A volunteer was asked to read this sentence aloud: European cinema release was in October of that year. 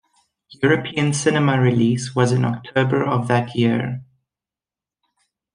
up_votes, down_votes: 1, 2